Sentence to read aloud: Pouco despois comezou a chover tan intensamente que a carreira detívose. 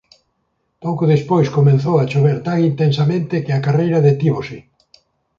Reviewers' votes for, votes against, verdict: 1, 2, rejected